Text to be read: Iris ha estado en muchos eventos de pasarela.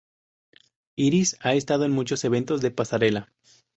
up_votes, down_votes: 2, 0